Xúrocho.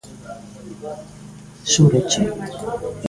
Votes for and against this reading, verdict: 2, 1, accepted